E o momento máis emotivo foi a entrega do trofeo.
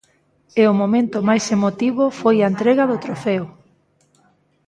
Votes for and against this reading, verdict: 2, 0, accepted